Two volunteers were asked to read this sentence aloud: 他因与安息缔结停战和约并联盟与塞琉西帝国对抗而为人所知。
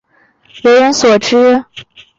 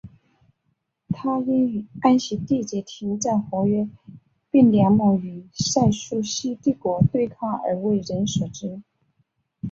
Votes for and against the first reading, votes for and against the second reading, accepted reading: 0, 4, 3, 1, second